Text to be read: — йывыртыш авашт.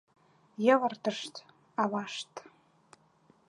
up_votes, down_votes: 1, 2